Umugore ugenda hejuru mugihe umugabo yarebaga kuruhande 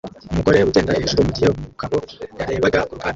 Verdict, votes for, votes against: rejected, 0, 2